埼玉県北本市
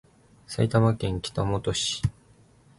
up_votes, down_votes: 2, 0